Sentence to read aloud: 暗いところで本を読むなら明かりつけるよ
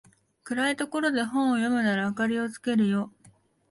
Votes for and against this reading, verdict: 1, 2, rejected